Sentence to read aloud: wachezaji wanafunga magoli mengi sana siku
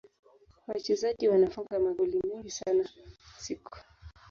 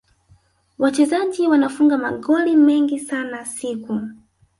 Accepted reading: second